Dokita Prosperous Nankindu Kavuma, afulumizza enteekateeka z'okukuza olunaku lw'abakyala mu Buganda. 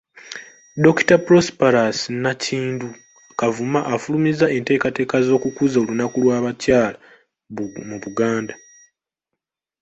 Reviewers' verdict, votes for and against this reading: rejected, 0, 2